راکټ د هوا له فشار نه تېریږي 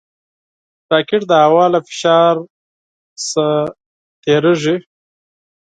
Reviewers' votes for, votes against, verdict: 2, 4, rejected